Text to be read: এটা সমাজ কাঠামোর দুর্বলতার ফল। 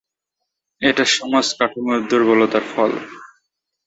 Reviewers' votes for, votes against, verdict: 2, 0, accepted